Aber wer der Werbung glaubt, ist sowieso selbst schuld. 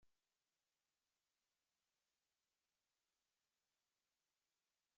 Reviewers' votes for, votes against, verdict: 0, 2, rejected